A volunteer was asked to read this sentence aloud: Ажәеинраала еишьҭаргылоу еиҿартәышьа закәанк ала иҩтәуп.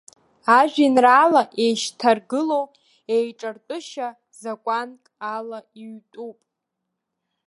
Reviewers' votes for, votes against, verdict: 1, 2, rejected